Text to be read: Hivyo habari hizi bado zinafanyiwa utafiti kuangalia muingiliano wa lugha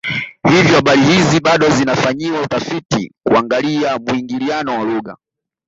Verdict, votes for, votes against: accepted, 2, 1